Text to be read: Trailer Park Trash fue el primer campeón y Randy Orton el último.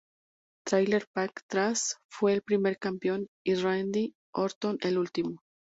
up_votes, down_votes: 2, 0